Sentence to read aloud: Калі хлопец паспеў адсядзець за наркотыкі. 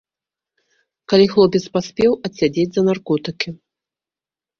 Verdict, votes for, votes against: accepted, 2, 0